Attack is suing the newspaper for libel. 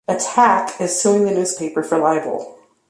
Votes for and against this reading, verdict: 2, 0, accepted